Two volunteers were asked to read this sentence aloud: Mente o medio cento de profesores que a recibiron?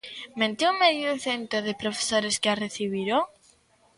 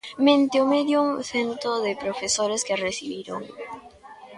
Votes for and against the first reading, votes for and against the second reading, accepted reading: 2, 0, 0, 2, first